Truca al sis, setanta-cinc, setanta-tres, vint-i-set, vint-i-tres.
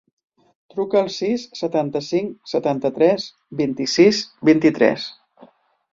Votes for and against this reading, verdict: 0, 2, rejected